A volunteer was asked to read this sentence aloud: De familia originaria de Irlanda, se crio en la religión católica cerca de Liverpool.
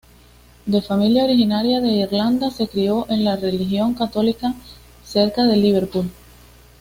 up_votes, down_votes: 2, 0